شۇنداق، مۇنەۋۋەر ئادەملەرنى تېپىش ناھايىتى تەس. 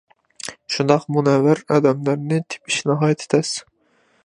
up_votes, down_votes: 2, 0